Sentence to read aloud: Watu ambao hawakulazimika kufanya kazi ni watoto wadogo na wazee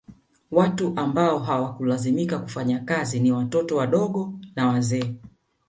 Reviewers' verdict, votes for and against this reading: rejected, 1, 2